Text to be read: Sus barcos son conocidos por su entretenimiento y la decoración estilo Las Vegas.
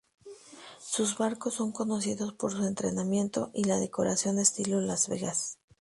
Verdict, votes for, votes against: rejected, 0, 2